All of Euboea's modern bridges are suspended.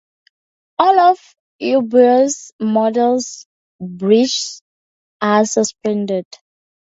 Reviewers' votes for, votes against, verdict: 0, 4, rejected